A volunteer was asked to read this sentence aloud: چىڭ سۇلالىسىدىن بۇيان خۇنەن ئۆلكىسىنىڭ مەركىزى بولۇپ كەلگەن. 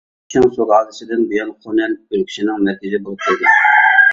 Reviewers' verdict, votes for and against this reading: rejected, 1, 2